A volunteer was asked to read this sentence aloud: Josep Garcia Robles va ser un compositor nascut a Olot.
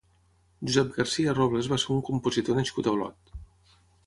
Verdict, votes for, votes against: accepted, 6, 0